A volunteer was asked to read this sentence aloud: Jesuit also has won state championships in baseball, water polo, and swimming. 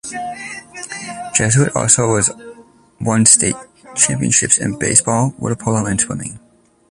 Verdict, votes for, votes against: rejected, 1, 2